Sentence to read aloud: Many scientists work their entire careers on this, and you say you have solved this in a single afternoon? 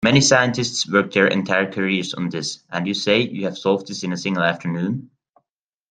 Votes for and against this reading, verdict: 2, 1, accepted